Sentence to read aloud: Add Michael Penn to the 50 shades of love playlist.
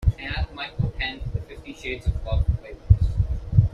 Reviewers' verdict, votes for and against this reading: rejected, 0, 2